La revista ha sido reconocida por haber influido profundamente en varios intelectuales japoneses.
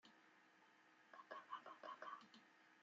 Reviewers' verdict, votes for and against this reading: rejected, 1, 2